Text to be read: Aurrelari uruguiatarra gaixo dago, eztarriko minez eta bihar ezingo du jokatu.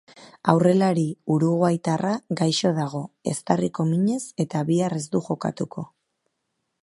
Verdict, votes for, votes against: rejected, 1, 3